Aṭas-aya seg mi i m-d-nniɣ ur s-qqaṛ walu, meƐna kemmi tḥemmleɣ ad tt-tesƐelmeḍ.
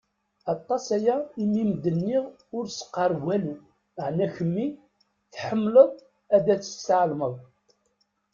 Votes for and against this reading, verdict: 1, 2, rejected